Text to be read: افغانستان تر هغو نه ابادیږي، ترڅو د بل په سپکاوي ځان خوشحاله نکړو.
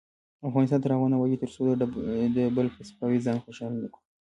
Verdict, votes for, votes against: rejected, 0, 2